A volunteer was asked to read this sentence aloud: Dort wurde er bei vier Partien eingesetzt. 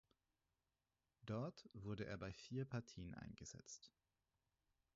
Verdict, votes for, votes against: accepted, 4, 2